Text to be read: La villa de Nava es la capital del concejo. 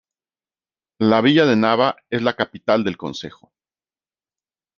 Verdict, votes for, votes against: rejected, 1, 2